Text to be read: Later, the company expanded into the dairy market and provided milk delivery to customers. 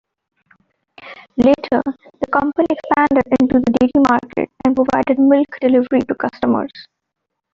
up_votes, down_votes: 0, 2